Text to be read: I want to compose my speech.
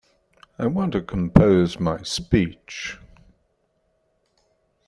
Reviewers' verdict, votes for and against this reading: accepted, 2, 0